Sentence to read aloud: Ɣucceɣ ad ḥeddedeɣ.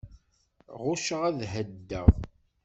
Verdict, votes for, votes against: accepted, 2, 0